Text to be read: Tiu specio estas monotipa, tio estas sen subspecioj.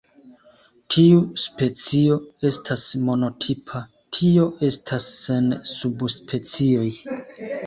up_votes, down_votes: 2, 1